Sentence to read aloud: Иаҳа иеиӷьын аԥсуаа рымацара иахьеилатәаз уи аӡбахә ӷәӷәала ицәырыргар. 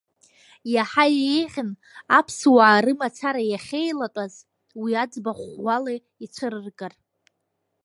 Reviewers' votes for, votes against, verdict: 1, 2, rejected